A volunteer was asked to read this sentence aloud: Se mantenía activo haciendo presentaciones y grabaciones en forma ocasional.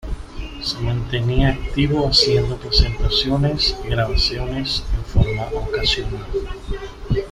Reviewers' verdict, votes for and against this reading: accepted, 2, 1